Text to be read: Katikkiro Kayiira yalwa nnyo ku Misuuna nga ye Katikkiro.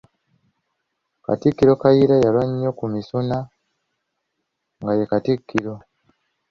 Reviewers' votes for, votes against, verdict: 0, 2, rejected